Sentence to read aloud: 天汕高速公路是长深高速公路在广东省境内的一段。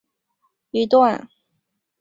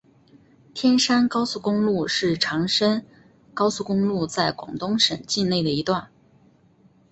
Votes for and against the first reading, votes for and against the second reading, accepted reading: 0, 2, 4, 1, second